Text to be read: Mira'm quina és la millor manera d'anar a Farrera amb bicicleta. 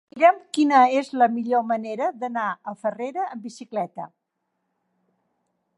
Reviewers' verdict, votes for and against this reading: rejected, 1, 2